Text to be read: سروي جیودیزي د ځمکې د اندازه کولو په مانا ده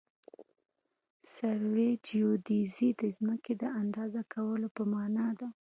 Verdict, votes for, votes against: accepted, 2, 0